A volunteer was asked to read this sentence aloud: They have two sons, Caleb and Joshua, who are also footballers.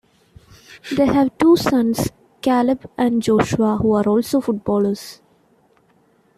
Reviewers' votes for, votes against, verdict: 2, 0, accepted